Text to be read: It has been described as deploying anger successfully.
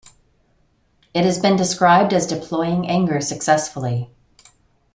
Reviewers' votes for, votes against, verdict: 2, 0, accepted